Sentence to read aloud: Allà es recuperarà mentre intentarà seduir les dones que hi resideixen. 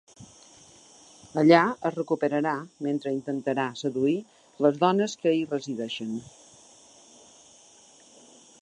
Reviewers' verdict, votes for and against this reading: accepted, 3, 0